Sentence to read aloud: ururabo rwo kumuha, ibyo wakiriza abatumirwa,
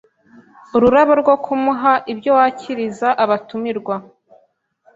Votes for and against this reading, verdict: 3, 0, accepted